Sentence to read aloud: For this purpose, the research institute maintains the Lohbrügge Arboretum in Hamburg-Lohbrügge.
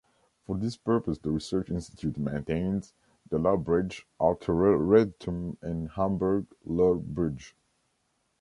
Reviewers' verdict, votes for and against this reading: rejected, 0, 2